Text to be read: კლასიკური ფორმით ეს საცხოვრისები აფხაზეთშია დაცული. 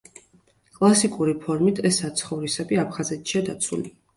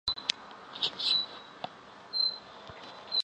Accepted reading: first